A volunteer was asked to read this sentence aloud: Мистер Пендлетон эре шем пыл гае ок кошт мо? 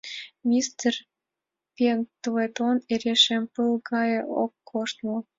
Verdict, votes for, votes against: accepted, 2, 0